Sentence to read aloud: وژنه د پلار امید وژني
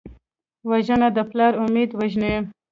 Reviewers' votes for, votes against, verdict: 1, 2, rejected